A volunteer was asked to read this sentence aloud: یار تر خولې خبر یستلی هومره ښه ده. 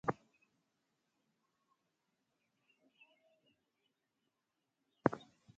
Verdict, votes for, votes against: rejected, 1, 2